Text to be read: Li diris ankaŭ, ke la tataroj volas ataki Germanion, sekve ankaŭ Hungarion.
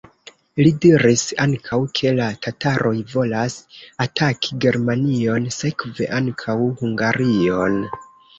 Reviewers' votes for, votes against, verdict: 1, 2, rejected